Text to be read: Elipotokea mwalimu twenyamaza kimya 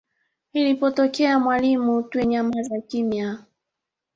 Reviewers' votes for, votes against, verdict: 1, 2, rejected